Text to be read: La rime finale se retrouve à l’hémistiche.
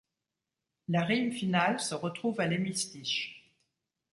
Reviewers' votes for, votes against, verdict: 2, 1, accepted